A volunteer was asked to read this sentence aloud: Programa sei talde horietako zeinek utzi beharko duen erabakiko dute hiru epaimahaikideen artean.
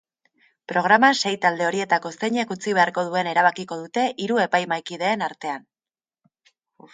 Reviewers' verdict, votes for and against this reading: accepted, 2, 1